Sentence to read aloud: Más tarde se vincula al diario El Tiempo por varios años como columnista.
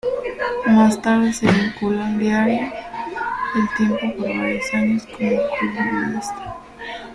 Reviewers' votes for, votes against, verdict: 0, 2, rejected